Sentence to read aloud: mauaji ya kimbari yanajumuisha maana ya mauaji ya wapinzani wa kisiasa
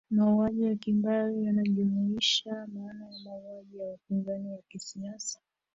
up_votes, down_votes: 0, 2